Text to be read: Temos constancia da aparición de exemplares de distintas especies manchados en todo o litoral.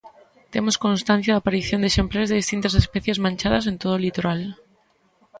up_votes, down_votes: 0, 3